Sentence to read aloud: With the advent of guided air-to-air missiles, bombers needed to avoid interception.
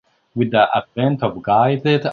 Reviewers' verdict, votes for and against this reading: rejected, 1, 3